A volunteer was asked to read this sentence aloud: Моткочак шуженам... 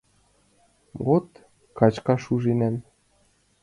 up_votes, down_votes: 0, 3